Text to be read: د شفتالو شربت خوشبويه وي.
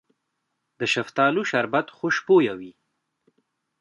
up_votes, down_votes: 2, 0